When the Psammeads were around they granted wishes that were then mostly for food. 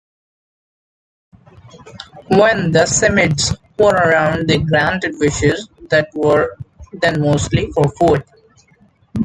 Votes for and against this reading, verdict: 2, 1, accepted